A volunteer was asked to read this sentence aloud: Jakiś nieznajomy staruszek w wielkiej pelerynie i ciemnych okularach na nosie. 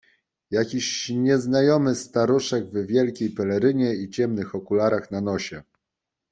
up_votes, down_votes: 2, 0